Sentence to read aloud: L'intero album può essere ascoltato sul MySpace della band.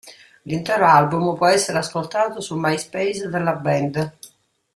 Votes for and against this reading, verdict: 2, 0, accepted